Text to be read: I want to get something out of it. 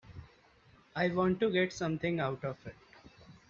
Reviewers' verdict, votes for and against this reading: accepted, 2, 0